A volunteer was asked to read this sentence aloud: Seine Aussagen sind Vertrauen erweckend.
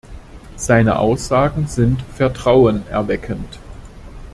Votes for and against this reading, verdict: 2, 0, accepted